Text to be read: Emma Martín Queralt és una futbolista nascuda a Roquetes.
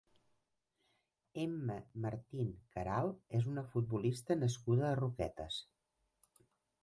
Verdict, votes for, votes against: accepted, 3, 1